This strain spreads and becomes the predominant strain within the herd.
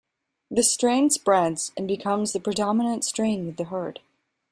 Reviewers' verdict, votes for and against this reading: rejected, 1, 2